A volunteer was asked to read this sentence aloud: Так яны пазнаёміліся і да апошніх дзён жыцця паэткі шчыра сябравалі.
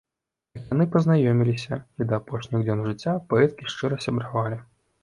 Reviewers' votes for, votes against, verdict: 0, 2, rejected